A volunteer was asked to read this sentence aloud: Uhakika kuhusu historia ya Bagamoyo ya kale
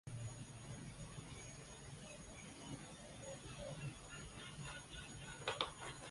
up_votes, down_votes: 0, 3